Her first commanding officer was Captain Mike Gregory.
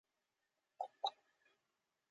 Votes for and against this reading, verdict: 0, 2, rejected